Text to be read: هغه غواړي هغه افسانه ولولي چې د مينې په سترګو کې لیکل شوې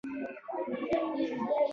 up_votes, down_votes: 0, 2